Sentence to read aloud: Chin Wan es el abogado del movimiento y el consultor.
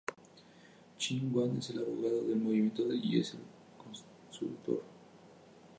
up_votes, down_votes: 0, 2